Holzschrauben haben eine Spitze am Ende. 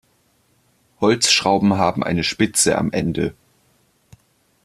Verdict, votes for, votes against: accepted, 2, 0